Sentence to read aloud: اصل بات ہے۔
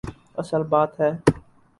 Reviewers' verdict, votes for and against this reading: accepted, 4, 0